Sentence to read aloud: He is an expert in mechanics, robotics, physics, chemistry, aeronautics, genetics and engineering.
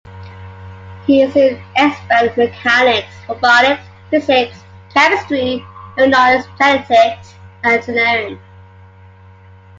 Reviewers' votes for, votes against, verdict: 1, 2, rejected